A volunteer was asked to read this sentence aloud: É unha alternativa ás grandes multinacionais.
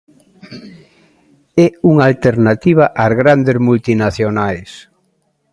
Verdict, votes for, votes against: accepted, 2, 0